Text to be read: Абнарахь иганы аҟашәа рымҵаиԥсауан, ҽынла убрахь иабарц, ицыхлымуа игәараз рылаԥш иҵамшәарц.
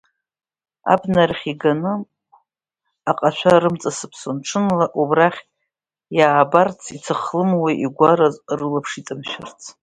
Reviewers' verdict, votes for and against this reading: rejected, 1, 2